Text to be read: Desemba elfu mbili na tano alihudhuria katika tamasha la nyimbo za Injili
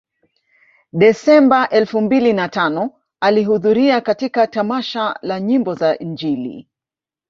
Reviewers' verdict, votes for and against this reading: rejected, 1, 2